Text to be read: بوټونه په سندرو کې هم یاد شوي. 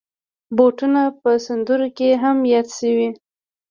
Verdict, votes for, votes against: rejected, 2, 3